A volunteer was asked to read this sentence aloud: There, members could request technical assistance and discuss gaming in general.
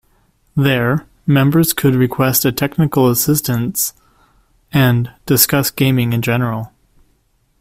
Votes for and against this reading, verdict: 0, 2, rejected